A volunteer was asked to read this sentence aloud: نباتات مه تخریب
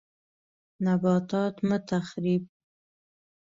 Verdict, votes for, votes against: accepted, 2, 0